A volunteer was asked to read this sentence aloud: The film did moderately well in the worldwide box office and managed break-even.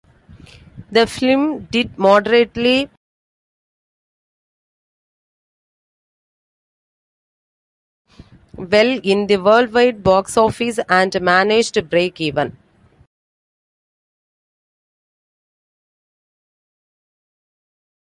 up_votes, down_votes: 0, 2